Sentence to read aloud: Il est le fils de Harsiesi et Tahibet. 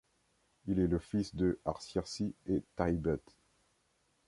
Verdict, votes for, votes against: rejected, 1, 2